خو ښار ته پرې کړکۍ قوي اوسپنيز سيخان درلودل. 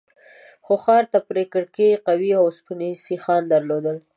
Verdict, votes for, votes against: accepted, 2, 0